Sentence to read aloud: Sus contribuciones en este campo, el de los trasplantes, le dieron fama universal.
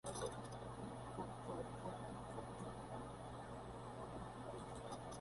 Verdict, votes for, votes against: rejected, 0, 2